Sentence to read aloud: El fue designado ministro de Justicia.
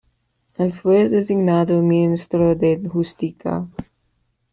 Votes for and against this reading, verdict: 1, 2, rejected